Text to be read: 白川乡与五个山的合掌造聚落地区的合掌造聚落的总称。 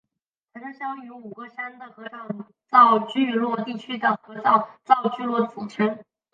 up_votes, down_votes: 4, 1